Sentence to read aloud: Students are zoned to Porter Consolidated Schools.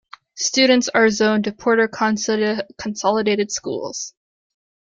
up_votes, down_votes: 1, 2